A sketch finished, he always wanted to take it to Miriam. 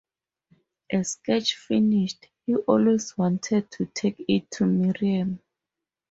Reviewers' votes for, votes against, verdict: 0, 2, rejected